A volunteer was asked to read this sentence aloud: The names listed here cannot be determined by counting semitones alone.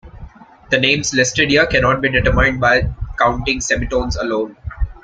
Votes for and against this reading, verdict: 1, 2, rejected